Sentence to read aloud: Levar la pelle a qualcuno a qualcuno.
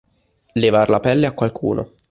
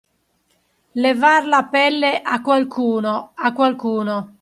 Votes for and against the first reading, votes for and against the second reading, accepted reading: 1, 2, 2, 0, second